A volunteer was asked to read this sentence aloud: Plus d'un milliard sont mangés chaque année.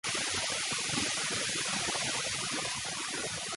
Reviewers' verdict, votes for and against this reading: rejected, 0, 2